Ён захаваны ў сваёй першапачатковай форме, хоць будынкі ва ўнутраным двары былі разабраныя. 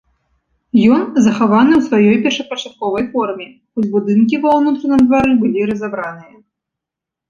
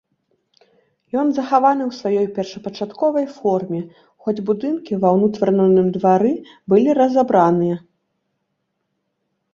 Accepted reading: first